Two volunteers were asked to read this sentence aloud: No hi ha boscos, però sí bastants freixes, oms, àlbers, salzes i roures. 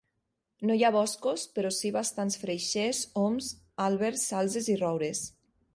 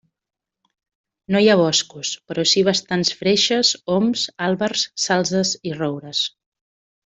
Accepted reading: second